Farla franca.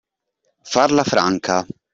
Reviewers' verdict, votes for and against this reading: accepted, 2, 0